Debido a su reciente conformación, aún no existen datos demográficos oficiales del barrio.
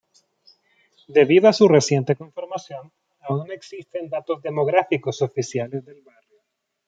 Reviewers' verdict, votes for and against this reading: accepted, 2, 1